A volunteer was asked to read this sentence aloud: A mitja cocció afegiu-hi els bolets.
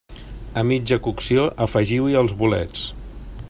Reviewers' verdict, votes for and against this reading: accepted, 3, 0